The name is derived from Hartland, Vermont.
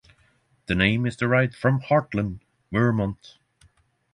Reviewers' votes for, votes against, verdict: 3, 0, accepted